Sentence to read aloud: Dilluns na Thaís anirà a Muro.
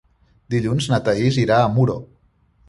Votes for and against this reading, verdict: 0, 2, rejected